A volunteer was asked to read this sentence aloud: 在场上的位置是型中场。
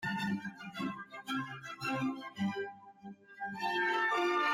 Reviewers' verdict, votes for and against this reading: rejected, 1, 3